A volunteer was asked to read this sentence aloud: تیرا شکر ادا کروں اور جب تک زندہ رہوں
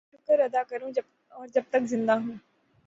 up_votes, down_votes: 12, 15